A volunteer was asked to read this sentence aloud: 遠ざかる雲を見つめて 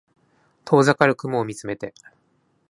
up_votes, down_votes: 2, 0